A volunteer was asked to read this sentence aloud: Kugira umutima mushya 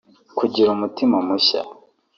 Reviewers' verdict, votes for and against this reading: rejected, 0, 2